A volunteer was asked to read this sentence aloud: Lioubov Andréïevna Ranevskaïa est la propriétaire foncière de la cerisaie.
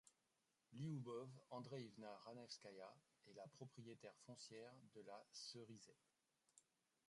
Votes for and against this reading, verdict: 0, 2, rejected